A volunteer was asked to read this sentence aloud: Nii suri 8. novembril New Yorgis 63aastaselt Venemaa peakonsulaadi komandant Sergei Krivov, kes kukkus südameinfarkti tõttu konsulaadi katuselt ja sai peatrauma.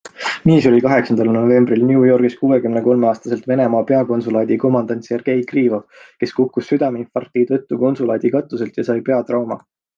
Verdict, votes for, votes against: rejected, 0, 2